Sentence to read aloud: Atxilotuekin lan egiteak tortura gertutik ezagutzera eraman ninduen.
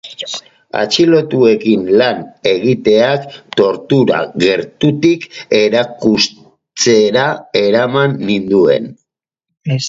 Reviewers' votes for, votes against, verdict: 0, 4, rejected